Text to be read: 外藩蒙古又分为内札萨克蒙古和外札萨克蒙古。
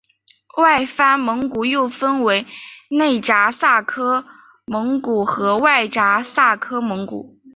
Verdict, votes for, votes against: accepted, 3, 0